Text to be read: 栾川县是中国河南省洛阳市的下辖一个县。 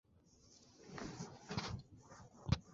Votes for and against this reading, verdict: 3, 5, rejected